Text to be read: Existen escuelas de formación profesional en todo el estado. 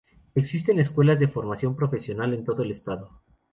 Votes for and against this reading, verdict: 4, 0, accepted